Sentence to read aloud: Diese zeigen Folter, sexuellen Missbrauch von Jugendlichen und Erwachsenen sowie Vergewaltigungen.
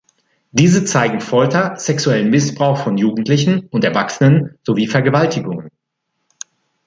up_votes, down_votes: 2, 0